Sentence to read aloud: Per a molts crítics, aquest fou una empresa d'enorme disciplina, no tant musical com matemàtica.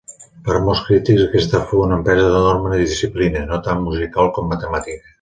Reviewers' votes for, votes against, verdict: 2, 0, accepted